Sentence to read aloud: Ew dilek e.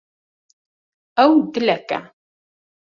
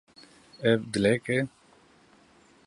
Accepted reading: first